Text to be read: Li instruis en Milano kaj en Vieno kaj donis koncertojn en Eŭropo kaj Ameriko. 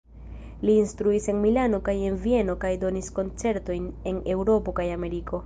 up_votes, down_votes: 2, 0